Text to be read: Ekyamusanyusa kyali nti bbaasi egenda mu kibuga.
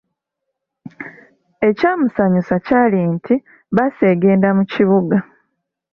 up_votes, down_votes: 2, 0